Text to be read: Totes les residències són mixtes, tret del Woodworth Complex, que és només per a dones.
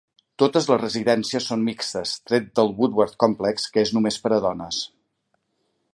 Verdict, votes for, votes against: accepted, 2, 0